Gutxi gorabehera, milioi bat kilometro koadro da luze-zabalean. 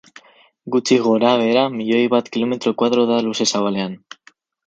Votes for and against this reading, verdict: 4, 0, accepted